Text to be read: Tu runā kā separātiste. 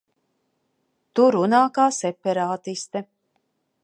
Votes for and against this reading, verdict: 2, 0, accepted